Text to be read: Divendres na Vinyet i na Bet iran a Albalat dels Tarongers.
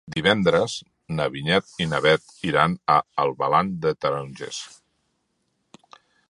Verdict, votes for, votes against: rejected, 0, 2